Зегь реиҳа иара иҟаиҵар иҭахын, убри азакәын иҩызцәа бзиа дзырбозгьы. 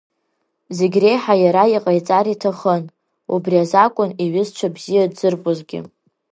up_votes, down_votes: 3, 0